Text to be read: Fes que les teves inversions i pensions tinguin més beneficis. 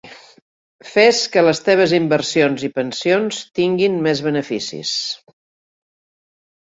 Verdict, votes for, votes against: accepted, 4, 0